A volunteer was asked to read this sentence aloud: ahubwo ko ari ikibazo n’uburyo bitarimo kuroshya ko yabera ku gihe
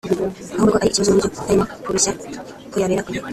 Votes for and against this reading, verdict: 0, 2, rejected